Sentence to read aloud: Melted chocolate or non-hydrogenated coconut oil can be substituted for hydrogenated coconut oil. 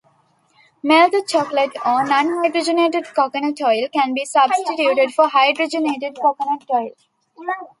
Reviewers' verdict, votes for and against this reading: accepted, 2, 1